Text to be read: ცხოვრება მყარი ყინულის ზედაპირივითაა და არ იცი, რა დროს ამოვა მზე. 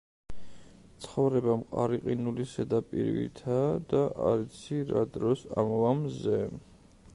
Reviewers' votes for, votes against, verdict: 1, 2, rejected